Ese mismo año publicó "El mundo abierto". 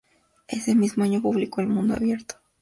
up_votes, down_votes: 2, 0